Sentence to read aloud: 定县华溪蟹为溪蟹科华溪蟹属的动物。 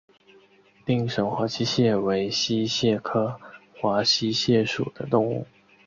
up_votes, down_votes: 2, 1